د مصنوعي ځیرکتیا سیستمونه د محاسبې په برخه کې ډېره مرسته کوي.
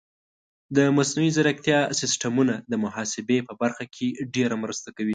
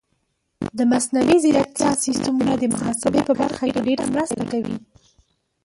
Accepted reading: first